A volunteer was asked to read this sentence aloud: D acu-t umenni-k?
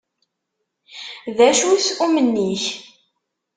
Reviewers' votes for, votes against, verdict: 2, 0, accepted